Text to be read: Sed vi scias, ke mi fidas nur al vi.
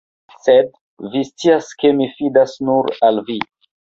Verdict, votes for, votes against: rejected, 1, 2